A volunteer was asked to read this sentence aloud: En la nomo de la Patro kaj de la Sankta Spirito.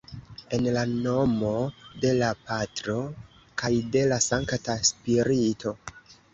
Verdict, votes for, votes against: rejected, 1, 2